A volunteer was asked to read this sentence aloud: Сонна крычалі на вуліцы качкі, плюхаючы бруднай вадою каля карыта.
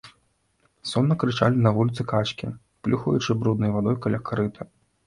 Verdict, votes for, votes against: accepted, 2, 0